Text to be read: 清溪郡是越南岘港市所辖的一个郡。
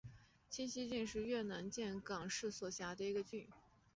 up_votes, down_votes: 0, 2